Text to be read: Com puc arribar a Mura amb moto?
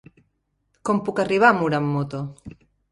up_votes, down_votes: 3, 0